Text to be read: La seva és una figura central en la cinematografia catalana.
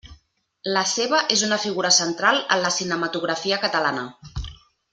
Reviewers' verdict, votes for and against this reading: accepted, 3, 0